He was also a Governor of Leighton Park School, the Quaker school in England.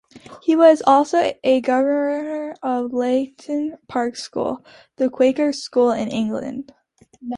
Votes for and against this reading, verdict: 0, 2, rejected